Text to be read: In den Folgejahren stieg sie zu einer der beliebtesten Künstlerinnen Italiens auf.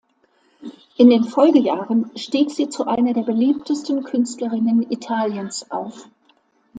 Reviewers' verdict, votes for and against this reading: accepted, 2, 0